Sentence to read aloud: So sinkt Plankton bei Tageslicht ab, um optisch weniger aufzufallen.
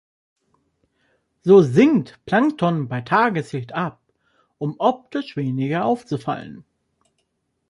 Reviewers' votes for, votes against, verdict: 3, 0, accepted